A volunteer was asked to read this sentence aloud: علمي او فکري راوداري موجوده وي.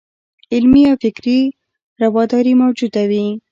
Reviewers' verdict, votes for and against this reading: accepted, 2, 0